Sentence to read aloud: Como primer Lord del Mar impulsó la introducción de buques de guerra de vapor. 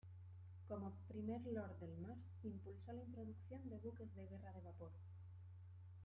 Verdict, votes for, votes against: rejected, 0, 2